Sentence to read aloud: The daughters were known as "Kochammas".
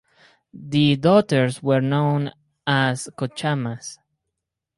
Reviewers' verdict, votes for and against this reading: accepted, 4, 0